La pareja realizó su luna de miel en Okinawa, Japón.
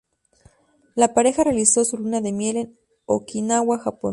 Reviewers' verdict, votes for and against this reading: accepted, 2, 0